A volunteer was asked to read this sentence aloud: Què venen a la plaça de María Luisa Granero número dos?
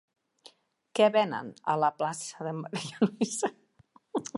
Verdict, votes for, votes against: rejected, 1, 2